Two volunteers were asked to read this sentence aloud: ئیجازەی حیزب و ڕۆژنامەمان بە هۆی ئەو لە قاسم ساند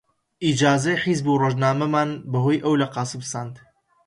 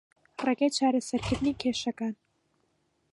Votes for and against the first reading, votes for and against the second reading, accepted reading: 2, 0, 0, 2, first